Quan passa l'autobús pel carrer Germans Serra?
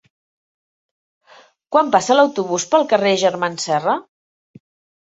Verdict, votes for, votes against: accepted, 2, 0